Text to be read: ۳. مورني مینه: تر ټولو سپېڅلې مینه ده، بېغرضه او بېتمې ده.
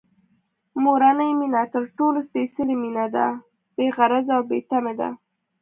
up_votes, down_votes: 0, 2